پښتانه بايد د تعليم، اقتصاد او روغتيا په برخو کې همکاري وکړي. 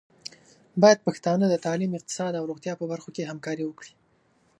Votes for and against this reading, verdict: 1, 2, rejected